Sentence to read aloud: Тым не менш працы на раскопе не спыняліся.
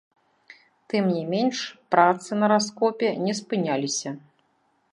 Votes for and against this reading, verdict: 0, 2, rejected